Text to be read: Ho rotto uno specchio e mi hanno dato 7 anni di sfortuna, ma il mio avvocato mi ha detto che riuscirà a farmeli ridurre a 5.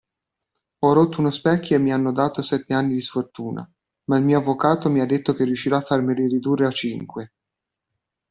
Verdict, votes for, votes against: rejected, 0, 2